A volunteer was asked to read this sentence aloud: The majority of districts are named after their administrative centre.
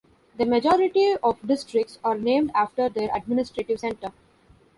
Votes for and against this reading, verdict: 2, 0, accepted